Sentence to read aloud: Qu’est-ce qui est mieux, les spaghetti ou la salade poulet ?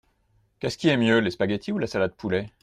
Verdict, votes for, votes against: accepted, 2, 0